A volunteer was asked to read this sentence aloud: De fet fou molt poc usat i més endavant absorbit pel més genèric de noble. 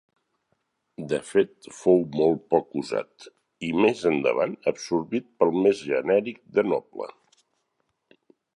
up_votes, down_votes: 4, 0